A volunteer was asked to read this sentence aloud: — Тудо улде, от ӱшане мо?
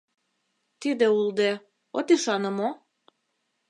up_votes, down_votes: 0, 2